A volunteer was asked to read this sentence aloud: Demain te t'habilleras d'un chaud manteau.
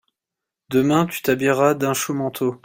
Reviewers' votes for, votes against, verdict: 2, 1, accepted